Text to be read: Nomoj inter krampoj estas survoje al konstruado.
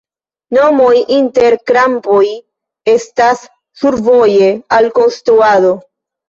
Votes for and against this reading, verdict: 2, 0, accepted